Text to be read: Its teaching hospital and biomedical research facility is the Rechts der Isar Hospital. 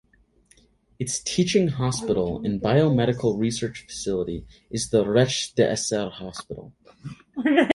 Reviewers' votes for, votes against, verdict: 0, 6, rejected